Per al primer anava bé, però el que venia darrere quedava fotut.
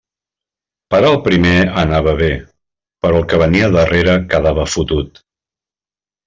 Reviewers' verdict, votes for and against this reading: accepted, 2, 0